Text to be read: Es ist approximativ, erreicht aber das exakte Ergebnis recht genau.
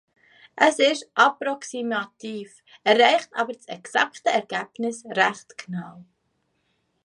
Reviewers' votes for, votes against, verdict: 3, 1, accepted